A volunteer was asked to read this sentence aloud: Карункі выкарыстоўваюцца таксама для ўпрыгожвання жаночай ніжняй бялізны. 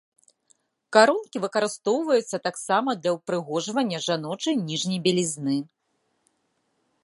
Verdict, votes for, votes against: rejected, 1, 2